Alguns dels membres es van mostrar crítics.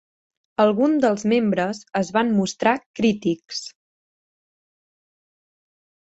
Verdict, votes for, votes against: rejected, 1, 2